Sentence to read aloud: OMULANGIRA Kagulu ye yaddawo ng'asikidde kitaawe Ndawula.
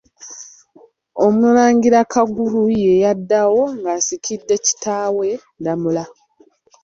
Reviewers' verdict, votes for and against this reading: rejected, 1, 2